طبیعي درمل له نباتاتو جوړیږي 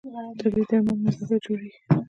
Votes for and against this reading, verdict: 1, 2, rejected